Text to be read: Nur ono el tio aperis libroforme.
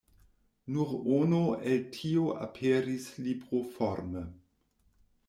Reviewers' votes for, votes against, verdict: 1, 2, rejected